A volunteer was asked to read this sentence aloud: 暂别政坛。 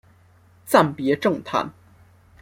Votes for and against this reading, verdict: 0, 2, rejected